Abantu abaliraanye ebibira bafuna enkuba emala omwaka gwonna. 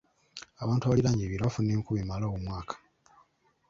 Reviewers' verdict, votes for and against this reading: rejected, 1, 2